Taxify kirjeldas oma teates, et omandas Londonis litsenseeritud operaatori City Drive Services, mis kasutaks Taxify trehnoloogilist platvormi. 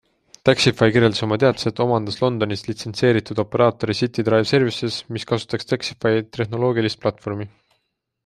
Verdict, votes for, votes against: accepted, 2, 0